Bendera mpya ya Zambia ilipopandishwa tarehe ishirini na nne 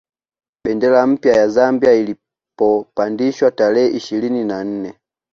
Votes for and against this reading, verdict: 2, 1, accepted